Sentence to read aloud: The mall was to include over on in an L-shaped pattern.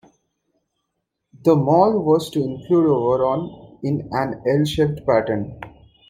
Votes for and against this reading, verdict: 2, 1, accepted